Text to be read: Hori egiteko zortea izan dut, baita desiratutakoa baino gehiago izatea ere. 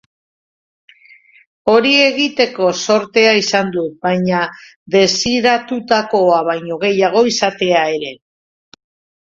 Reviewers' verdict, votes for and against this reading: rejected, 1, 2